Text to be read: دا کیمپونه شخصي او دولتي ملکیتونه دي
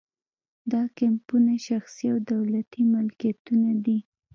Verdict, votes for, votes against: rejected, 1, 2